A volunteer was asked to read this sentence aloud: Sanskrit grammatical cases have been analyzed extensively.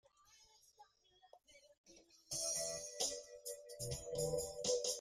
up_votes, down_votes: 0, 2